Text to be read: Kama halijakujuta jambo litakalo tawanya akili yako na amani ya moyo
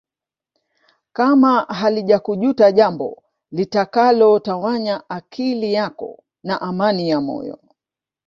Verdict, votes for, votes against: accepted, 3, 0